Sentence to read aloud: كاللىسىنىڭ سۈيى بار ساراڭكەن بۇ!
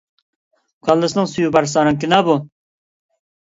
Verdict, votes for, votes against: rejected, 0, 2